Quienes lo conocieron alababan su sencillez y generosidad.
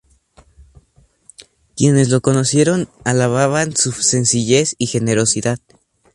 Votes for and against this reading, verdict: 2, 0, accepted